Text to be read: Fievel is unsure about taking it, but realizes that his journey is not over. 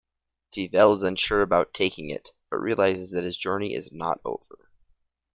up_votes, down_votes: 2, 0